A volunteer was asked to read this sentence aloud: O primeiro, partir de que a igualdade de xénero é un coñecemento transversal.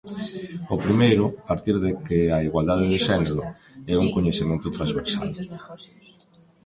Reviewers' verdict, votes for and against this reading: rejected, 0, 2